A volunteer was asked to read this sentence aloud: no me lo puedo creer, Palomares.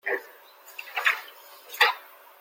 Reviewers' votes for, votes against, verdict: 0, 2, rejected